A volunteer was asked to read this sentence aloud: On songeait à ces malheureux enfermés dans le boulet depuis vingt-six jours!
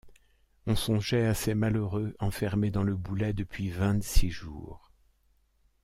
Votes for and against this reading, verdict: 1, 2, rejected